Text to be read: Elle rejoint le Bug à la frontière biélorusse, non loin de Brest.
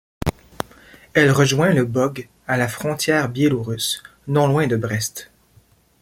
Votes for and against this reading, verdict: 2, 0, accepted